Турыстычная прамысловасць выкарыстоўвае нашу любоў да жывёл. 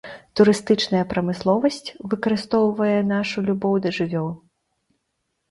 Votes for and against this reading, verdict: 2, 0, accepted